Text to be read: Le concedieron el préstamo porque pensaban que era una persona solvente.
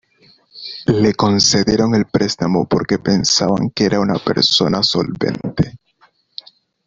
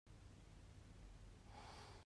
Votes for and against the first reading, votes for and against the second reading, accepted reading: 2, 1, 0, 2, first